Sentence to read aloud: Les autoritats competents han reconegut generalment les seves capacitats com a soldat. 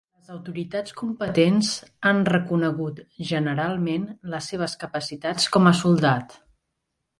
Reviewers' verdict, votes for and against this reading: rejected, 1, 2